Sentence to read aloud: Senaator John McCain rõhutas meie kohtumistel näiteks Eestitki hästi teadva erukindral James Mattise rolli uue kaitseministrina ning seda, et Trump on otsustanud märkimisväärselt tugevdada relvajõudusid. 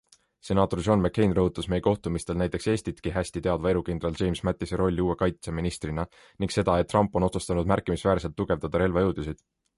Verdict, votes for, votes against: accepted, 2, 0